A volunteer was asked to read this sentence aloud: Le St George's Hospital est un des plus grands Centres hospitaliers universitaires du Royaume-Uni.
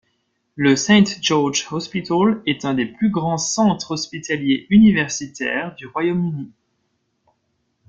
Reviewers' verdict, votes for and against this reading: accepted, 2, 0